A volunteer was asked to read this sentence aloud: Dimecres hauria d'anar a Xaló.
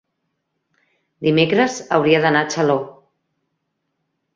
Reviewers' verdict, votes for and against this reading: accepted, 3, 0